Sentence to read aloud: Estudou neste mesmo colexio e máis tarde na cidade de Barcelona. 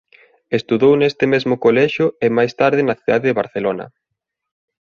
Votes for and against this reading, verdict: 2, 0, accepted